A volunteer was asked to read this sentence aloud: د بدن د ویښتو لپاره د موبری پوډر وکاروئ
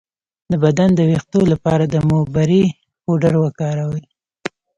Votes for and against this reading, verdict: 1, 2, rejected